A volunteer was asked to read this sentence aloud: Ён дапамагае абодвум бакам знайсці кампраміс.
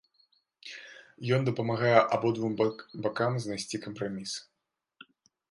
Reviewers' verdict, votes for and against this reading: rejected, 0, 2